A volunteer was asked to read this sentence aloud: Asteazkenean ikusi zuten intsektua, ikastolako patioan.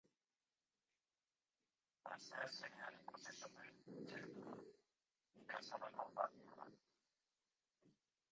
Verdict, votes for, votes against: rejected, 0, 2